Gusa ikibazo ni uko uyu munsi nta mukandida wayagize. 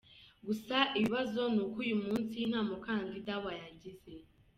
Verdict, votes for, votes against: accepted, 2, 0